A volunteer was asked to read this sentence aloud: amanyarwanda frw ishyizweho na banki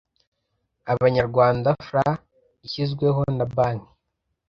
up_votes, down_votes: 0, 2